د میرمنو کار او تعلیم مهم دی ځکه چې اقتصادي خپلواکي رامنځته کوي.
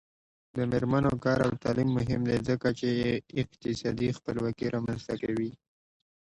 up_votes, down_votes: 2, 0